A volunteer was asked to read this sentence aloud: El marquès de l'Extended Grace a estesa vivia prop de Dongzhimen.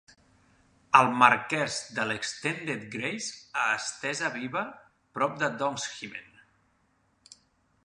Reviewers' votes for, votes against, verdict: 0, 2, rejected